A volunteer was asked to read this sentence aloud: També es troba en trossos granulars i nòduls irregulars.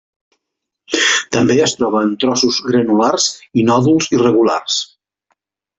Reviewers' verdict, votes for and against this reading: accepted, 2, 0